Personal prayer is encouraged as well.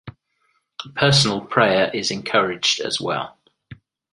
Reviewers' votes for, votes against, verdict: 2, 0, accepted